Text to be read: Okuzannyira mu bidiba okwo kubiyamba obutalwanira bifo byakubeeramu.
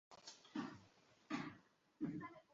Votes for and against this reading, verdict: 0, 2, rejected